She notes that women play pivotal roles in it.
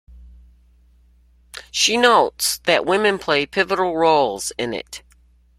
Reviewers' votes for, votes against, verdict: 2, 0, accepted